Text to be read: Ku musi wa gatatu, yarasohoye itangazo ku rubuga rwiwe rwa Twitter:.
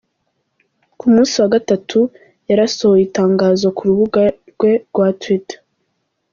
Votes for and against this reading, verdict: 1, 2, rejected